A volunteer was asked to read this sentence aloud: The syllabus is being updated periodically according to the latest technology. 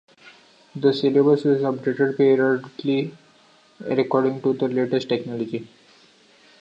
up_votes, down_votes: 0, 2